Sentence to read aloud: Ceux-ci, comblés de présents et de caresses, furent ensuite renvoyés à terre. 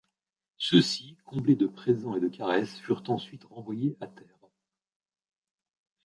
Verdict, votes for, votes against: rejected, 1, 2